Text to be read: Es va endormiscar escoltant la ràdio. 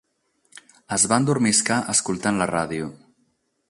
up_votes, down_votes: 0, 4